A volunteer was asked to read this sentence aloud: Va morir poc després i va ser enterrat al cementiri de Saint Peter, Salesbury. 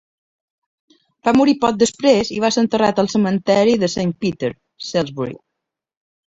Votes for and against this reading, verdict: 1, 2, rejected